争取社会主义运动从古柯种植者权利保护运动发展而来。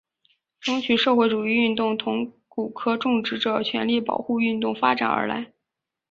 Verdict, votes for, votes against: accepted, 2, 0